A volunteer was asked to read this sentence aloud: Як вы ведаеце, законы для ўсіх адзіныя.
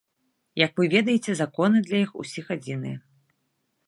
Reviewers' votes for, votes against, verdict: 0, 3, rejected